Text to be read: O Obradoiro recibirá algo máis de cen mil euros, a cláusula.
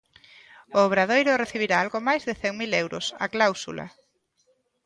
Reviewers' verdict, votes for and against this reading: accepted, 2, 0